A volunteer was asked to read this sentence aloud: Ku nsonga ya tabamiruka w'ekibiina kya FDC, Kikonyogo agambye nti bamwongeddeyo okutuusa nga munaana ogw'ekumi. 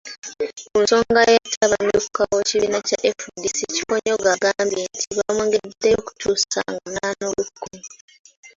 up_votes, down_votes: 0, 2